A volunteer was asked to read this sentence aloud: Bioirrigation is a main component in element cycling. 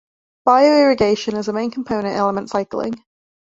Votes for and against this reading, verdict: 2, 0, accepted